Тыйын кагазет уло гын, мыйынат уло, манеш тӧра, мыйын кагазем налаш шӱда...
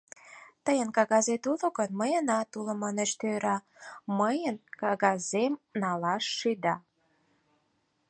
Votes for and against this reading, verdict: 4, 0, accepted